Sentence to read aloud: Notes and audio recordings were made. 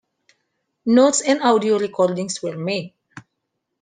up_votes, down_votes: 2, 1